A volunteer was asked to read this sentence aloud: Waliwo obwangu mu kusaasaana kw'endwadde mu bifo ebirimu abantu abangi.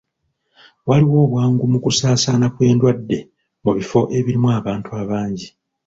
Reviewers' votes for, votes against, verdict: 1, 2, rejected